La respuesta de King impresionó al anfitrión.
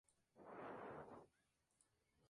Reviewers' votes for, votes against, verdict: 0, 2, rejected